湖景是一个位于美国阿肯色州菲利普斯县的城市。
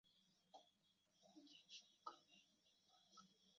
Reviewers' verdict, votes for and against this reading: rejected, 0, 2